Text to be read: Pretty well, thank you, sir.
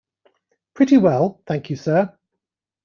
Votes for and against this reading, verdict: 2, 0, accepted